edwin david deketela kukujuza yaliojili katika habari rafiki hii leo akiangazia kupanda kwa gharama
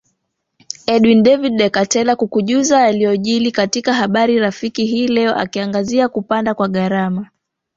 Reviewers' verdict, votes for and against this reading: rejected, 1, 2